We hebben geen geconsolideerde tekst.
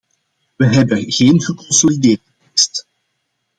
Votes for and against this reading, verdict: 0, 2, rejected